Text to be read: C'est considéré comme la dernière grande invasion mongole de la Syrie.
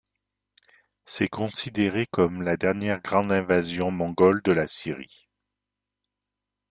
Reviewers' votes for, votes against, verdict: 2, 0, accepted